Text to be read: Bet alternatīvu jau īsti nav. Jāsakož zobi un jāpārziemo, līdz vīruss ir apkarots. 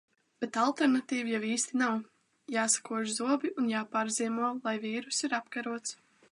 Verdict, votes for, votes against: rejected, 0, 2